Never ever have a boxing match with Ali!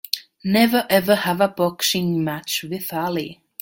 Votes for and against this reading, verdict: 2, 0, accepted